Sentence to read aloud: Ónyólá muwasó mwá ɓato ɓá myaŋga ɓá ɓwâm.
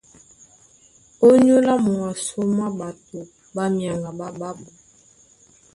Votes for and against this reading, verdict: 0, 2, rejected